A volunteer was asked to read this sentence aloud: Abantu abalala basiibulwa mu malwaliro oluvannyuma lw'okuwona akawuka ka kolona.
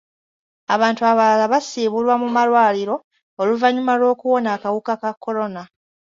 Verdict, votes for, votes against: accepted, 2, 0